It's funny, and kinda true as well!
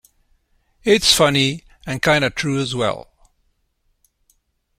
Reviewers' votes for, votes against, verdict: 2, 0, accepted